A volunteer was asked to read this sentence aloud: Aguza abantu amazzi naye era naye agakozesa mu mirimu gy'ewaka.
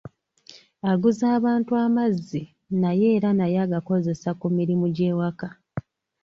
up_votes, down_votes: 0, 2